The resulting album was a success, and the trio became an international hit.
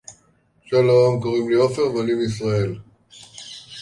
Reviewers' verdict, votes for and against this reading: rejected, 0, 2